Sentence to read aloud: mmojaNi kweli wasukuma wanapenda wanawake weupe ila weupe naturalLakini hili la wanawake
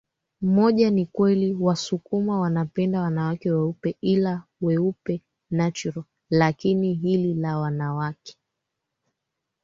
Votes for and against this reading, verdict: 2, 1, accepted